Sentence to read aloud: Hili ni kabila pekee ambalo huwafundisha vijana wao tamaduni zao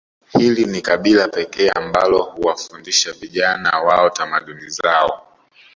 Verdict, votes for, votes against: accepted, 2, 0